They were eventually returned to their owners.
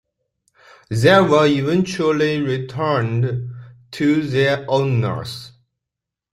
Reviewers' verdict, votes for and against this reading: accepted, 2, 0